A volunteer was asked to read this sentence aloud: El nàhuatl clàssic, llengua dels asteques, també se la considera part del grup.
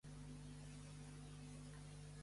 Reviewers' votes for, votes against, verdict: 0, 3, rejected